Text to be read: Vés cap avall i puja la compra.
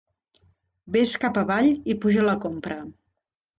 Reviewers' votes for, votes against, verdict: 3, 0, accepted